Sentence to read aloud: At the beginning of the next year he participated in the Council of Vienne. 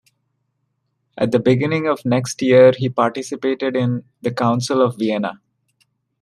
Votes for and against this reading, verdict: 1, 3, rejected